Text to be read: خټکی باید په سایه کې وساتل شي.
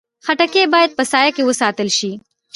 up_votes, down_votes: 1, 2